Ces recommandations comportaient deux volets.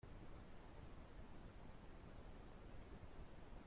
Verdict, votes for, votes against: rejected, 0, 2